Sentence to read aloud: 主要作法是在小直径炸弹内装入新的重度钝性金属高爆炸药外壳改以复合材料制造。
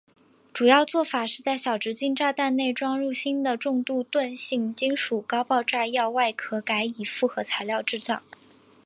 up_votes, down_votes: 3, 1